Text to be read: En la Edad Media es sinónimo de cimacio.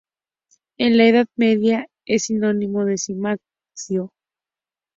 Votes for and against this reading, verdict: 4, 2, accepted